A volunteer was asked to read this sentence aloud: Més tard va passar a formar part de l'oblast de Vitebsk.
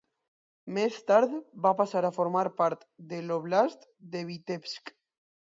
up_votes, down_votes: 2, 0